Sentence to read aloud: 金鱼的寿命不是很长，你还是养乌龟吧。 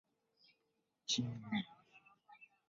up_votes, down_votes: 0, 3